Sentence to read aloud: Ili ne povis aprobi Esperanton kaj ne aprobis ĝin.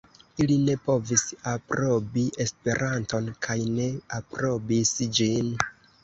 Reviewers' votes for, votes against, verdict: 3, 2, accepted